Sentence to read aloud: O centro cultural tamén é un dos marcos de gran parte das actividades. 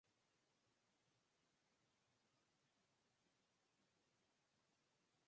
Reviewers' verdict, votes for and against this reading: rejected, 0, 6